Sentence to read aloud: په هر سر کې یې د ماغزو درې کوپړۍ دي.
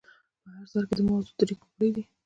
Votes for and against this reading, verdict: 1, 2, rejected